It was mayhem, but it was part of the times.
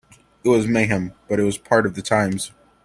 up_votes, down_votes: 2, 0